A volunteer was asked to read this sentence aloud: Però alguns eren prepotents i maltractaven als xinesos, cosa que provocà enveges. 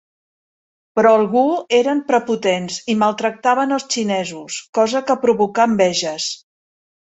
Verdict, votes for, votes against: rejected, 1, 2